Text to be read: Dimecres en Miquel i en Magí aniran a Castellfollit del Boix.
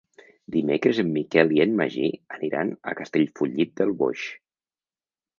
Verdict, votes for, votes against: accepted, 4, 0